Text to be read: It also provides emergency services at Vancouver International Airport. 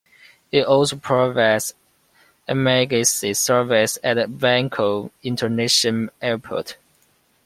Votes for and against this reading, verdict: 1, 3, rejected